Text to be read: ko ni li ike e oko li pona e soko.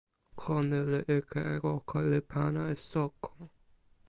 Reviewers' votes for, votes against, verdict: 0, 2, rejected